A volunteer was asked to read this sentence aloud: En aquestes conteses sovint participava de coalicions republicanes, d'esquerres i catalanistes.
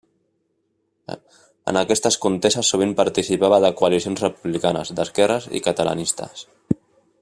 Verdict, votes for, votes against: rejected, 1, 2